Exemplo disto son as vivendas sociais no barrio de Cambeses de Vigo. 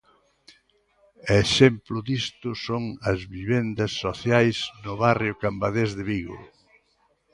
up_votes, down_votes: 0, 2